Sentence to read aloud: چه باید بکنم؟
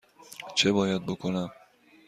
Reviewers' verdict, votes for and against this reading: accepted, 2, 0